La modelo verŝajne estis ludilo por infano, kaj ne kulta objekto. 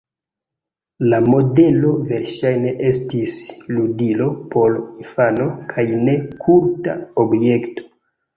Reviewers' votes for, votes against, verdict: 3, 0, accepted